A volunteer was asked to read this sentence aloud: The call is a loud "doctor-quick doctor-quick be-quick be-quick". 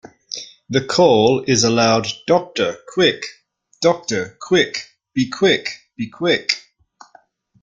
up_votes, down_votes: 2, 0